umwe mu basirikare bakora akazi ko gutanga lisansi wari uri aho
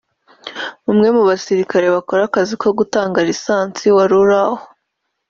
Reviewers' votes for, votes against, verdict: 2, 0, accepted